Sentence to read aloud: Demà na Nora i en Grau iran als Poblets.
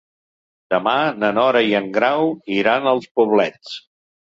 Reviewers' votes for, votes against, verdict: 3, 0, accepted